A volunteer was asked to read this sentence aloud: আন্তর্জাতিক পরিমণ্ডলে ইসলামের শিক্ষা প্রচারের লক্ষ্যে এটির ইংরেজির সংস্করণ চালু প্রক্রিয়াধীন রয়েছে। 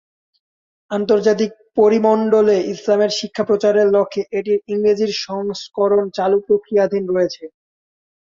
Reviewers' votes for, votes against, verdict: 0, 2, rejected